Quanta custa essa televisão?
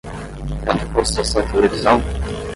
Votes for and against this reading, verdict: 5, 10, rejected